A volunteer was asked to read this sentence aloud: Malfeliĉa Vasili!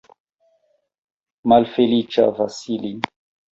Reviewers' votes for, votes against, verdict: 1, 2, rejected